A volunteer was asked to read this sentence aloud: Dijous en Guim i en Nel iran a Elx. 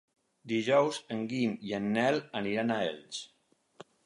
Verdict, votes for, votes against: rejected, 2, 4